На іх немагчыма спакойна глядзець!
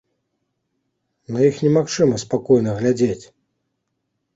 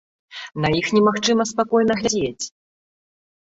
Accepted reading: first